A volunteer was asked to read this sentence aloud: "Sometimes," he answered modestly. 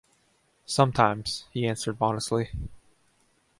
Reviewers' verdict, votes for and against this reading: accepted, 2, 0